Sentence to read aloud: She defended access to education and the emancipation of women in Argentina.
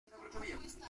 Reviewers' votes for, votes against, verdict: 0, 2, rejected